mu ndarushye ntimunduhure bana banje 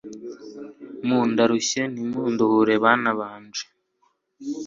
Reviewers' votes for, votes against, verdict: 2, 0, accepted